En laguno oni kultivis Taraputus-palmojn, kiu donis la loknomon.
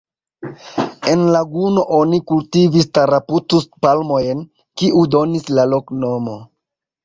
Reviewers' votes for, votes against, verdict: 2, 0, accepted